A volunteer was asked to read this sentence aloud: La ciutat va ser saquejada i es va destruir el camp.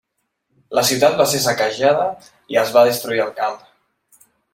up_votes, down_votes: 2, 0